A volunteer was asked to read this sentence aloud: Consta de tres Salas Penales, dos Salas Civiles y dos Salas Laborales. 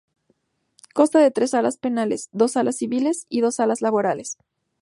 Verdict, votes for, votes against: rejected, 0, 2